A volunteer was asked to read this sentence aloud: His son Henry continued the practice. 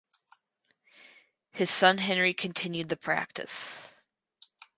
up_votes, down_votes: 4, 0